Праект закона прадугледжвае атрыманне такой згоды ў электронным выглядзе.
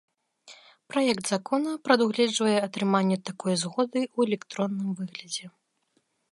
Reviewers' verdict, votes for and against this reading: accepted, 2, 0